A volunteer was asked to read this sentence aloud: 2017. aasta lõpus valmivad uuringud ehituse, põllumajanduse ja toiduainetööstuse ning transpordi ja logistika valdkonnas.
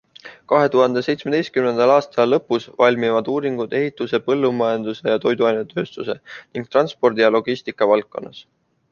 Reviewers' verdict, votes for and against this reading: rejected, 0, 2